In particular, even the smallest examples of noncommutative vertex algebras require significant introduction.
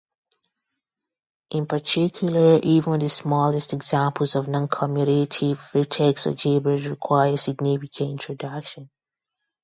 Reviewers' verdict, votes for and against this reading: rejected, 0, 2